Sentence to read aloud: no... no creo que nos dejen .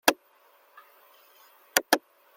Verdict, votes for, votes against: rejected, 0, 2